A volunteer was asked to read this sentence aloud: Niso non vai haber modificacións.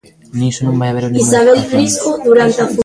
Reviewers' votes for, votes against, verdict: 0, 2, rejected